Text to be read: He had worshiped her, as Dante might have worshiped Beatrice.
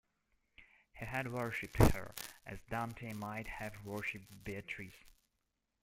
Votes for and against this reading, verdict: 0, 2, rejected